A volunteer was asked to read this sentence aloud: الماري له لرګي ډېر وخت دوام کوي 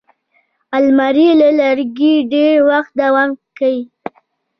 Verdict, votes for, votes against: accepted, 2, 1